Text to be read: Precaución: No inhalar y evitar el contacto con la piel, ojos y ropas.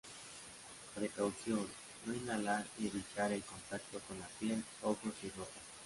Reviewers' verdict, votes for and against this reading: rejected, 0, 2